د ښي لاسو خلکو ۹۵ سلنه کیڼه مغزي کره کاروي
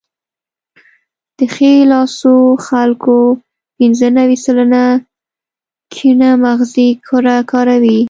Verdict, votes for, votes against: rejected, 0, 2